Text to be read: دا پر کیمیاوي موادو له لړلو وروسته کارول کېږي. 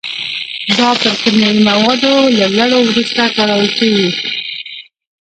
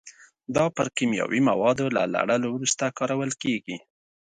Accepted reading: second